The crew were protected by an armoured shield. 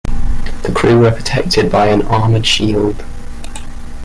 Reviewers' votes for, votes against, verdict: 2, 1, accepted